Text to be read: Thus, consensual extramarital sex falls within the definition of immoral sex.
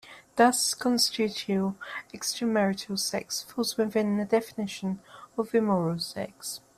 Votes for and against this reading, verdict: 0, 2, rejected